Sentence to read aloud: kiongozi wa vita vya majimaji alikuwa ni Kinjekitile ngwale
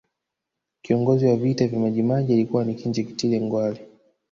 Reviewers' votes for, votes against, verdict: 3, 0, accepted